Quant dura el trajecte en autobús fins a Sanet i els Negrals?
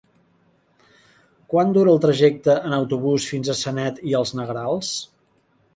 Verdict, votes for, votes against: accepted, 2, 0